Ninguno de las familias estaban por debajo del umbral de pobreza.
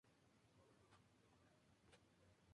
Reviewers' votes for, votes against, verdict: 0, 2, rejected